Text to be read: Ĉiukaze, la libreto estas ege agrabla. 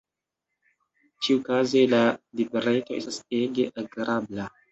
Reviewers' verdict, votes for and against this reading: accepted, 2, 1